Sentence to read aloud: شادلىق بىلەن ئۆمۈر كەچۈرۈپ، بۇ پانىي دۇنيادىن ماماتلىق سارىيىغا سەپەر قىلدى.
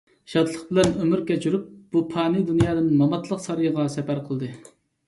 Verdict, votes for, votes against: accepted, 2, 0